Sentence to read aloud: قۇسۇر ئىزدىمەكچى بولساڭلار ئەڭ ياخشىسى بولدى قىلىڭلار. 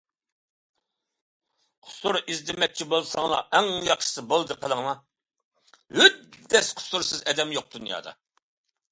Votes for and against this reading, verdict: 0, 2, rejected